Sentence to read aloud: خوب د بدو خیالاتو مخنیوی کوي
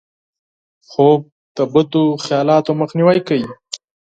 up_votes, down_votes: 4, 0